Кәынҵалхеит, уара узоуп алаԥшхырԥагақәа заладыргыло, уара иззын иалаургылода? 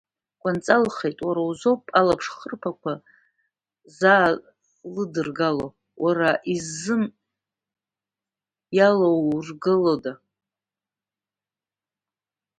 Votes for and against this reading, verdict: 2, 0, accepted